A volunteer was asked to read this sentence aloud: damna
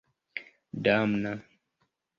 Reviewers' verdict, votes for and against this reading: accepted, 2, 0